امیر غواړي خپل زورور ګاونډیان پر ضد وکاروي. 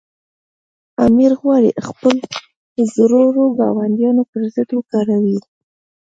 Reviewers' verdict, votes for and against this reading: rejected, 0, 2